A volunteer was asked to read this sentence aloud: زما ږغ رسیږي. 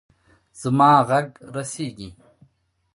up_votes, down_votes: 1, 2